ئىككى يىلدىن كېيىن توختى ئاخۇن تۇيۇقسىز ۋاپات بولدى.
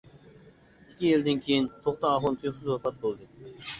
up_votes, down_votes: 1, 2